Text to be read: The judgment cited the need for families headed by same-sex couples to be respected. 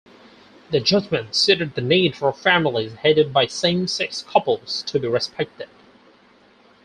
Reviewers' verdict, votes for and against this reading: rejected, 0, 4